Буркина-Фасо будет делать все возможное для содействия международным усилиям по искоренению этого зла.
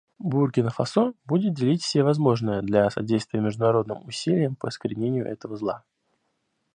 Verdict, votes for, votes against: rejected, 1, 2